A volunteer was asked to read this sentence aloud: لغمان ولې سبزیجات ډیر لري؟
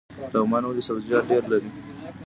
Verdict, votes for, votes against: rejected, 0, 2